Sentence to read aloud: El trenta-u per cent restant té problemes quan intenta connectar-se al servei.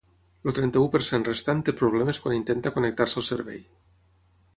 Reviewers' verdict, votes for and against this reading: accepted, 3, 0